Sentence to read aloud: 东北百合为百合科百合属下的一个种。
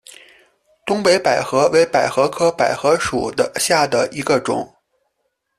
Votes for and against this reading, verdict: 0, 2, rejected